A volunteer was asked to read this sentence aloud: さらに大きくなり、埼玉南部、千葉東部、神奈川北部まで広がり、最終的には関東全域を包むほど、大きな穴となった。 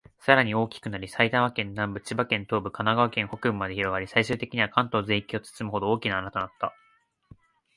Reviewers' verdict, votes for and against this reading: rejected, 2, 4